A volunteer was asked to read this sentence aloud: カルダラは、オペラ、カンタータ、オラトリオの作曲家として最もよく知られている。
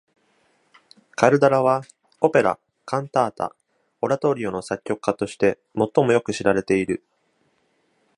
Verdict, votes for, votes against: accepted, 2, 0